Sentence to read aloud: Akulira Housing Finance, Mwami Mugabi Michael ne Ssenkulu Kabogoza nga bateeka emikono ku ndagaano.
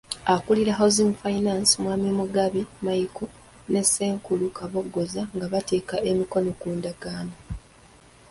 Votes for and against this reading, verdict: 2, 1, accepted